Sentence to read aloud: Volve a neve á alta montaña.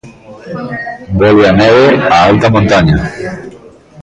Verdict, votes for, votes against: accepted, 2, 0